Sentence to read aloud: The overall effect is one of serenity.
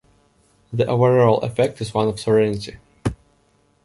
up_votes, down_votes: 2, 0